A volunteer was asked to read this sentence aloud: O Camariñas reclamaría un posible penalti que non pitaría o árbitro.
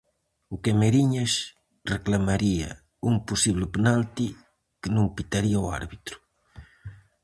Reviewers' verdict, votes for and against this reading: rejected, 2, 2